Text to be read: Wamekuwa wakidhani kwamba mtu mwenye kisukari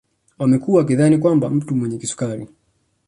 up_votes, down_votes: 2, 0